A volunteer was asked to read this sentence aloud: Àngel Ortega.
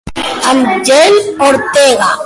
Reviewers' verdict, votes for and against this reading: rejected, 1, 2